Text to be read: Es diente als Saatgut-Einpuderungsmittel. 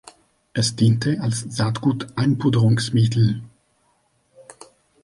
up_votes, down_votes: 2, 0